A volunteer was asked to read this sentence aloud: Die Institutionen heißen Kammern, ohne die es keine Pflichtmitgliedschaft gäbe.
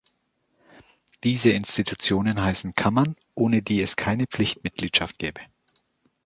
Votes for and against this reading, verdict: 0, 2, rejected